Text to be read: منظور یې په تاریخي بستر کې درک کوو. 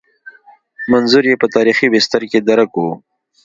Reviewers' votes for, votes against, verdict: 2, 0, accepted